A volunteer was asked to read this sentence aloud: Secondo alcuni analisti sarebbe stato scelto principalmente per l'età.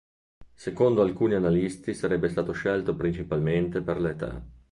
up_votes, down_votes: 3, 0